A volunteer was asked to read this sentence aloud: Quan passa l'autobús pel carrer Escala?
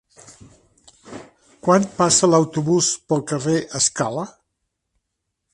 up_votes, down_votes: 0, 2